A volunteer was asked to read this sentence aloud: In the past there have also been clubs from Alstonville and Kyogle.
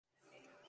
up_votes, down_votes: 0, 2